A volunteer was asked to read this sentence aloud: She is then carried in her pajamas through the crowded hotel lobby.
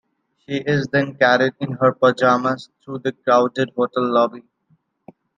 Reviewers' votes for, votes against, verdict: 2, 0, accepted